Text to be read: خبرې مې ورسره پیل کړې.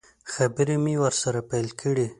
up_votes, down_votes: 0, 2